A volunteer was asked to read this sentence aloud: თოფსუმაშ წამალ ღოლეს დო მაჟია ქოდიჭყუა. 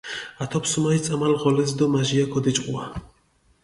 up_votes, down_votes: 0, 2